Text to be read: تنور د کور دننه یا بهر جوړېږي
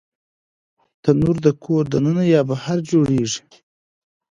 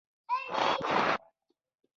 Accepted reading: first